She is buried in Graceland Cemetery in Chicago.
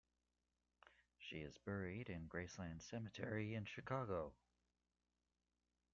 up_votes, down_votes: 2, 0